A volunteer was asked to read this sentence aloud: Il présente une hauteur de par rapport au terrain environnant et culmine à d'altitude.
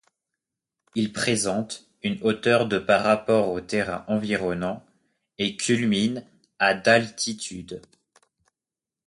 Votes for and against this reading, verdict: 2, 0, accepted